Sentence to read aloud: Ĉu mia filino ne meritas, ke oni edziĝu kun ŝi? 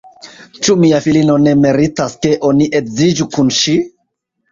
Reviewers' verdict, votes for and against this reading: accepted, 2, 0